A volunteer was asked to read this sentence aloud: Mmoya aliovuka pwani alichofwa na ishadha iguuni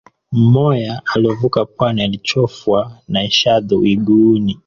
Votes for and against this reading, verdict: 0, 2, rejected